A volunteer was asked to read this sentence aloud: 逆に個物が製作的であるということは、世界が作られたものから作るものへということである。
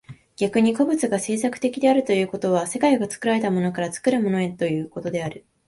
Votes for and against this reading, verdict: 16, 0, accepted